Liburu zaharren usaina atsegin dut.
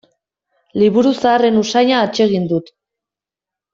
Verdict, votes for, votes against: accepted, 4, 0